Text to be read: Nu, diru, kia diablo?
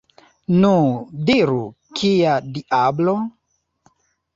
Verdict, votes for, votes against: accepted, 2, 1